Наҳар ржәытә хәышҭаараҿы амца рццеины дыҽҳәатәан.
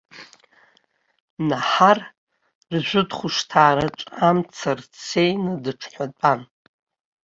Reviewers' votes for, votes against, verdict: 0, 2, rejected